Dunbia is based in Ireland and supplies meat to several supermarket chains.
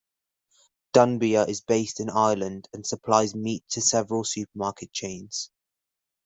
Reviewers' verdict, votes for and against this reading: accepted, 2, 0